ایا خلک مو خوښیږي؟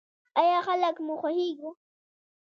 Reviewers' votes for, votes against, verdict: 1, 2, rejected